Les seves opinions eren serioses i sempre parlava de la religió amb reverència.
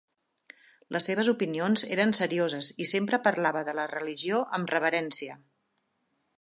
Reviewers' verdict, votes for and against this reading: accepted, 6, 2